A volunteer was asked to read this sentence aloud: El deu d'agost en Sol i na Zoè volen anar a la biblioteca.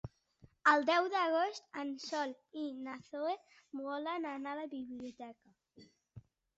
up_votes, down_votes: 0, 2